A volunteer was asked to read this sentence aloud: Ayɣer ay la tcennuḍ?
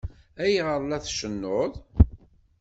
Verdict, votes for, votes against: accepted, 2, 0